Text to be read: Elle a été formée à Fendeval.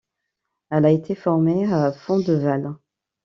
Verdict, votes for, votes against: accepted, 2, 0